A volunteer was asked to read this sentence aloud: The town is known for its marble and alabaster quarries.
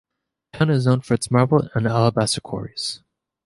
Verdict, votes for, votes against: accepted, 2, 0